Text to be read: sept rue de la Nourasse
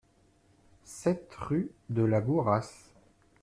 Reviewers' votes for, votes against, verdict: 0, 2, rejected